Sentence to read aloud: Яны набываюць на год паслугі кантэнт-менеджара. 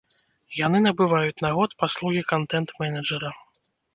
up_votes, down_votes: 1, 2